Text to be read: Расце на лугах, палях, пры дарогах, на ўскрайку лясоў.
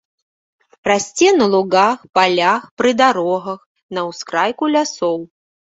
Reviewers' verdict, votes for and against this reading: rejected, 0, 2